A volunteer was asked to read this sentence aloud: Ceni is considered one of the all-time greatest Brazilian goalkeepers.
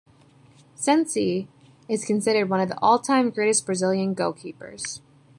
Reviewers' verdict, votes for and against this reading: rejected, 1, 2